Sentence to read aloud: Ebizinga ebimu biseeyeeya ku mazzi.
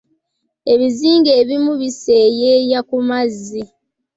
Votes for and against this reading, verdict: 2, 0, accepted